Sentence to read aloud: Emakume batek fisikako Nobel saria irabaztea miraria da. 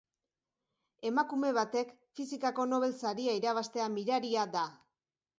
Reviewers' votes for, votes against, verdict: 3, 0, accepted